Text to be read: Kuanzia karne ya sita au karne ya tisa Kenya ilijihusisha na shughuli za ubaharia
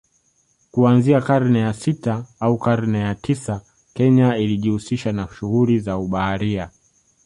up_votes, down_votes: 2, 0